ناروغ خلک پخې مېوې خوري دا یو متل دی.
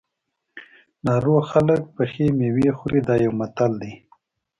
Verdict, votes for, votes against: accepted, 2, 0